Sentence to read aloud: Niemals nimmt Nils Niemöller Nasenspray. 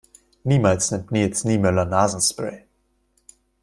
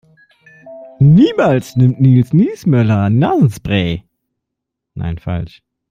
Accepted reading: first